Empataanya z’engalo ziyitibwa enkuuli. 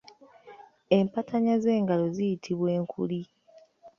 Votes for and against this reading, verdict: 1, 2, rejected